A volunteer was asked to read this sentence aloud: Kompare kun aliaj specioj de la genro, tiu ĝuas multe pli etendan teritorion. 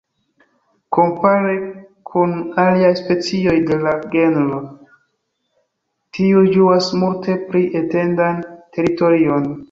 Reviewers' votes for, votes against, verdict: 2, 1, accepted